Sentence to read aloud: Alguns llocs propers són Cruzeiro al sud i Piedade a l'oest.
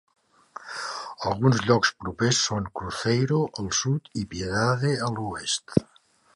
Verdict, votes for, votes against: accepted, 3, 0